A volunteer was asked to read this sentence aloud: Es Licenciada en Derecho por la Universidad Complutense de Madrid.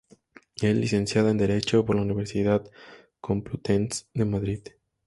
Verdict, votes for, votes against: accepted, 2, 0